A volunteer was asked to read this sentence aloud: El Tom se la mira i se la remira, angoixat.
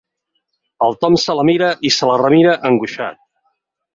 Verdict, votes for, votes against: accepted, 6, 0